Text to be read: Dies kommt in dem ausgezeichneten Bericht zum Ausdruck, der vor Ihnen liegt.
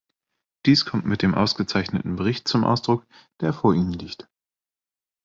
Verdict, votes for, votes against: rejected, 1, 2